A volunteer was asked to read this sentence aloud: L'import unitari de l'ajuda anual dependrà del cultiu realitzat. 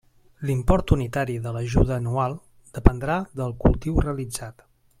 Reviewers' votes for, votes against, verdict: 3, 0, accepted